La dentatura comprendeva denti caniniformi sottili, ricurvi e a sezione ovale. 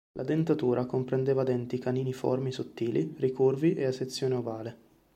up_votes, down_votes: 3, 0